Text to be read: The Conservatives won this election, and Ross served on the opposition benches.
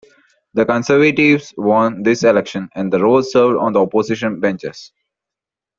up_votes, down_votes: 2, 0